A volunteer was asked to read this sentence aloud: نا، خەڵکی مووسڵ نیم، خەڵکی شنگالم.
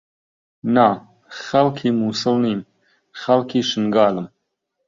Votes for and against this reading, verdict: 2, 0, accepted